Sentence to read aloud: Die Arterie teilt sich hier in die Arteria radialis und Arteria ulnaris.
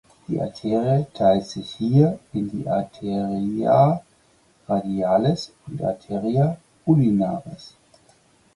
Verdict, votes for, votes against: rejected, 0, 4